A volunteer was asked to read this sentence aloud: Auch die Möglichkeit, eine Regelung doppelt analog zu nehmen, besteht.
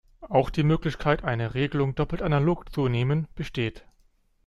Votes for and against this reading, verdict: 3, 0, accepted